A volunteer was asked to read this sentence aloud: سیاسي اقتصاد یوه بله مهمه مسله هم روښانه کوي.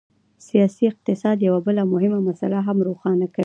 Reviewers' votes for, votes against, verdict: 2, 0, accepted